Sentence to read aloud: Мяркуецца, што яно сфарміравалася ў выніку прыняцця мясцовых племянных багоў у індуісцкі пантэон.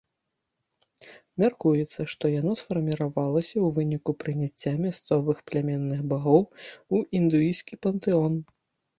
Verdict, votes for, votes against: accepted, 2, 0